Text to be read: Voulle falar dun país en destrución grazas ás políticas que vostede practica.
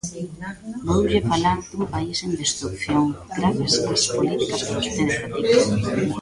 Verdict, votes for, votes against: rejected, 0, 2